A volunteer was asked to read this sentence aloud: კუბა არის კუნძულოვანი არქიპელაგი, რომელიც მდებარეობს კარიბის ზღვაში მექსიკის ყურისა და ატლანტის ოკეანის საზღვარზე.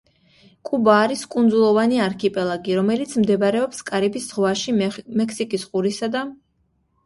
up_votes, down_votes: 0, 2